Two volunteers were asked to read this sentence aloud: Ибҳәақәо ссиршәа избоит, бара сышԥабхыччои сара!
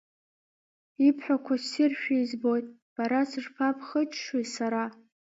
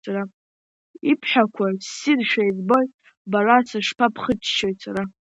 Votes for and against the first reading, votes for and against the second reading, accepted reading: 2, 1, 1, 2, first